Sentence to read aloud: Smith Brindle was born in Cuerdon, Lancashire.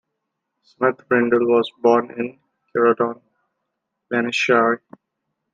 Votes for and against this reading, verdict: 2, 1, accepted